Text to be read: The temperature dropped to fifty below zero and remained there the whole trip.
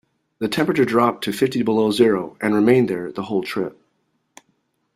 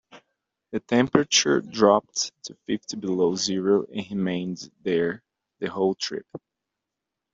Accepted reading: first